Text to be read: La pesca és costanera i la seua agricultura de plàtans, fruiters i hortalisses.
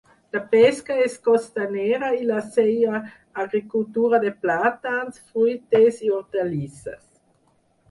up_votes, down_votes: 0, 6